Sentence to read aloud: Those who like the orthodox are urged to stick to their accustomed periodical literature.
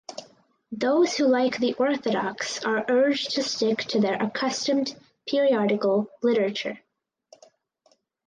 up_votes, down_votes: 4, 0